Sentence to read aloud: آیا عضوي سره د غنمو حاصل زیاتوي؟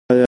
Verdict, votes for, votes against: rejected, 1, 2